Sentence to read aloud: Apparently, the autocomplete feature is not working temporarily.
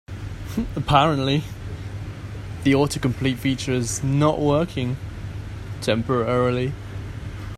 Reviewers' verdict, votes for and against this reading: rejected, 0, 2